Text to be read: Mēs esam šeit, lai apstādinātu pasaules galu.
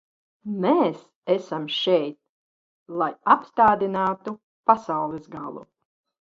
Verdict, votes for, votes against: rejected, 1, 2